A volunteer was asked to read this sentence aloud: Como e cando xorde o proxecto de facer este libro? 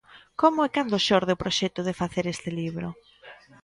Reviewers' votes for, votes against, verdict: 2, 0, accepted